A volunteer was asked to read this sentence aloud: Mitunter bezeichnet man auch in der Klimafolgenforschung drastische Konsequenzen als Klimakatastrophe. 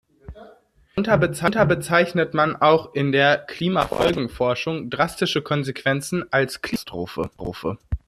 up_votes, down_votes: 0, 2